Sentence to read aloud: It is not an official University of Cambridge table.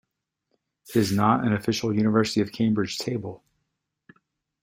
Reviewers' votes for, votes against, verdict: 2, 0, accepted